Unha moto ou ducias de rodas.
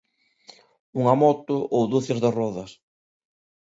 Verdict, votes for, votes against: accepted, 2, 0